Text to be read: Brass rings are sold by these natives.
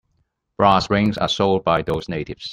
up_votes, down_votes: 0, 2